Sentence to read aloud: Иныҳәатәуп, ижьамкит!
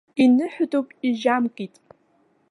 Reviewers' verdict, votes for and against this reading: accepted, 2, 0